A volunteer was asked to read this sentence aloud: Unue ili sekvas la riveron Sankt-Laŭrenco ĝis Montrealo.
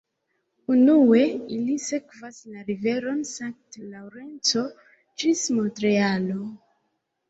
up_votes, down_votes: 2, 0